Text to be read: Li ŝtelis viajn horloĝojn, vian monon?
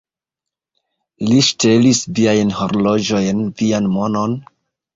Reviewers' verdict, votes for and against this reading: accepted, 2, 1